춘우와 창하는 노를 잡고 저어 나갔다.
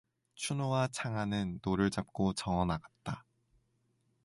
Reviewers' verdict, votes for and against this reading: accepted, 2, 0